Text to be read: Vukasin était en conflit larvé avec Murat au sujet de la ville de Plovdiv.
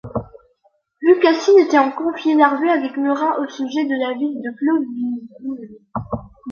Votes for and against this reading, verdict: 2, 0, accepted